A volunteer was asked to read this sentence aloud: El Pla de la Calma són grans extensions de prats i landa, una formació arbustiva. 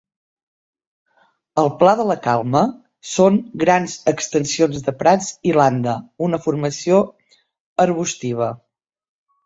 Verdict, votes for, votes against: accepted, 3, 0